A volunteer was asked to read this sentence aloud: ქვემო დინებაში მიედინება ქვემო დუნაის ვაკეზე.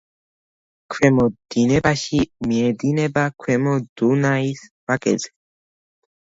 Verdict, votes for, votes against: accepted, 2, 0